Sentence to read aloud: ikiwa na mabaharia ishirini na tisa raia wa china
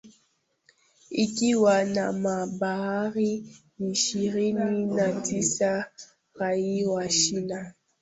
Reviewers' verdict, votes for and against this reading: accepted, 2, 1